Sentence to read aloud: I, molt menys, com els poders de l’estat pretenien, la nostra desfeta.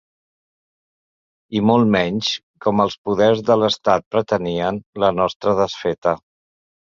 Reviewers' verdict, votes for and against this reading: accepted, 2, 0